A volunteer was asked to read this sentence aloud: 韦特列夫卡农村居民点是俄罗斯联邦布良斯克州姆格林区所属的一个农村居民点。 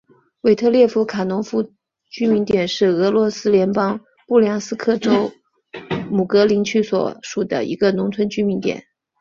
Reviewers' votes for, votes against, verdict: 2, 0, accepted